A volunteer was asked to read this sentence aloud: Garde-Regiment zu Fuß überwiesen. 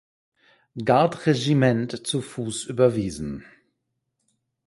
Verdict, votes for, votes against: rejected, 2, 4